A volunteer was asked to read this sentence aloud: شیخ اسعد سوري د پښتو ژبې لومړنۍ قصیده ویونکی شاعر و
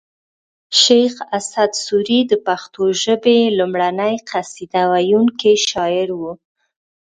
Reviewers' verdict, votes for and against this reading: rejected, 1, 2